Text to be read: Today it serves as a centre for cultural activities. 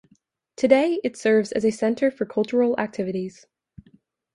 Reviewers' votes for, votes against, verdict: 2, 0, accepted